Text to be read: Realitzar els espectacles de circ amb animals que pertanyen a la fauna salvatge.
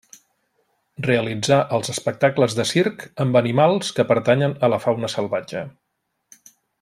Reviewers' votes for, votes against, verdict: 2, 0, accepted